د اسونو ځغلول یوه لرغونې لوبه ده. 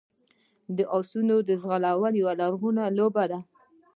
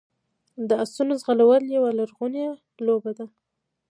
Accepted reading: second